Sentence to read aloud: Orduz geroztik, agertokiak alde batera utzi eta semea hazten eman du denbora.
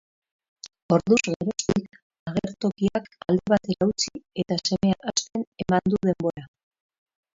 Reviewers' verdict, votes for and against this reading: rejected, 0, 6